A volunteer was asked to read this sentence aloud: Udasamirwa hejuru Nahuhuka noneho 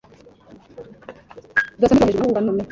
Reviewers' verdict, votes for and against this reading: rejected, 0, 2